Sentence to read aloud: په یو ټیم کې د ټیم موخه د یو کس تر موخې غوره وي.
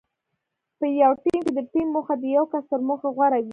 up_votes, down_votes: 2, 0